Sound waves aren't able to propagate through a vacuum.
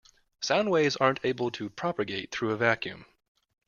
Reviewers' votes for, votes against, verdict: 2, 0, accepted